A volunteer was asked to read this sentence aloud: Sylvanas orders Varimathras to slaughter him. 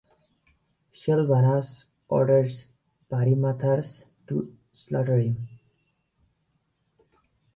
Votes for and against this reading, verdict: 2, 0, accepted